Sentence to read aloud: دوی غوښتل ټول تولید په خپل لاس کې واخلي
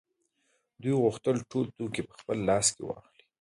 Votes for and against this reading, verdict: 2, 0, accepted